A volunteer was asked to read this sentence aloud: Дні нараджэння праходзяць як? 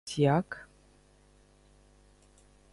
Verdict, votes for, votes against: rejected, 0, 2